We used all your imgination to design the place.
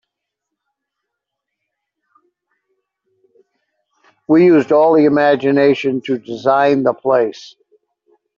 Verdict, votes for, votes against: accepted, 2, 0